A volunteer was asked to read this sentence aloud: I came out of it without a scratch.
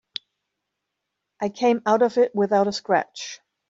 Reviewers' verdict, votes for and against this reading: accepted, 2, 0